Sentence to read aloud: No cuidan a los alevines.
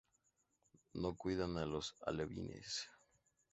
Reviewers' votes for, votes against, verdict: 0, 2, rejected